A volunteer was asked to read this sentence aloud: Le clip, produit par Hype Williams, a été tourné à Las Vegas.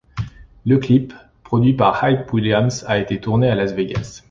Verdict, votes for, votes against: accepted, 2, 0